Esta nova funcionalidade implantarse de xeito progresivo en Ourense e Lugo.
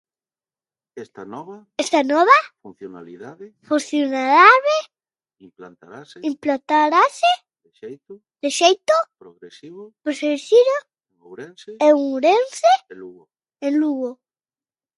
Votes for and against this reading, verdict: 0, 2, rejected